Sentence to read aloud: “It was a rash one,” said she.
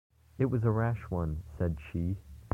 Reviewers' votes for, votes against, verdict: 0, 2, rejected